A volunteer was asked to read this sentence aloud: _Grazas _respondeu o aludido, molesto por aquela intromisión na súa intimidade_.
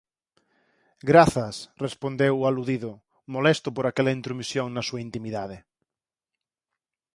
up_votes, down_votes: 6, 0